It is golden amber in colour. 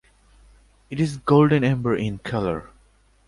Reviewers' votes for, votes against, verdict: 2, 0, accepted